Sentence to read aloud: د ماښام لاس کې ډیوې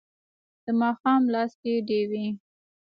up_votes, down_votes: 2, 0